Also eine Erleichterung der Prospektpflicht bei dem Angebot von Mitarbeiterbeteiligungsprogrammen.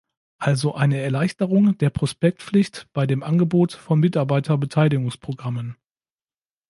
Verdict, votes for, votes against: accepted, 2, 0